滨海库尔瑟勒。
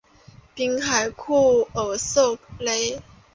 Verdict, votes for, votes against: rejected, 0, 2